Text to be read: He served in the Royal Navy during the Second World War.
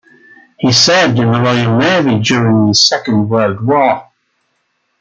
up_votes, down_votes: 2, 0